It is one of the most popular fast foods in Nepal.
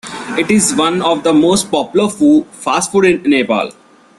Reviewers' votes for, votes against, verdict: 0, 2, rejected